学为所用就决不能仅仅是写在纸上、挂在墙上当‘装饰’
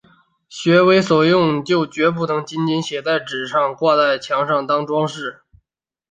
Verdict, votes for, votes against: accepted, 2, 0